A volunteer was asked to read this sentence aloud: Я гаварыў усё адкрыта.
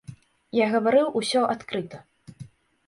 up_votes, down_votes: 2, 0